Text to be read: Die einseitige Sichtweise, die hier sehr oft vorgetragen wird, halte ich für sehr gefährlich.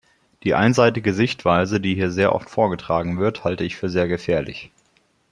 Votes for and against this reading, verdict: 2, 0, accepted